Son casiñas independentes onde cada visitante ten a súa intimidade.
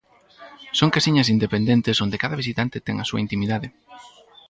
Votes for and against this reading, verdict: 2, 2, rejected